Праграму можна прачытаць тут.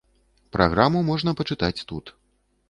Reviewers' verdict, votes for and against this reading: rejected, 1, 3